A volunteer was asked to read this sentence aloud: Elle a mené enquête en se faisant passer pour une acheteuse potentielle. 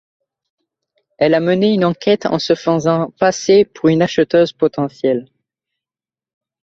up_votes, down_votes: 2, 0